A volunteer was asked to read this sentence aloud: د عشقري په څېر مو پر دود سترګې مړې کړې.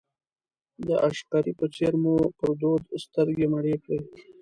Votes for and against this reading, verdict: 2, 0, accepted